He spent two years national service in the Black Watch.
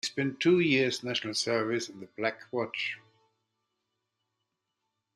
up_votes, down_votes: 2, 0